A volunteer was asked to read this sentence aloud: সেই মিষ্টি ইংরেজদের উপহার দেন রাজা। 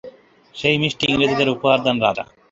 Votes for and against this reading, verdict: 2, 2, rejected